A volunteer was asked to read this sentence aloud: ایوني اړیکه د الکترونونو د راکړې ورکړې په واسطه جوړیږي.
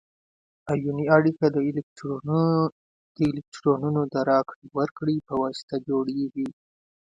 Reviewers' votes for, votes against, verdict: 1, 2, rejected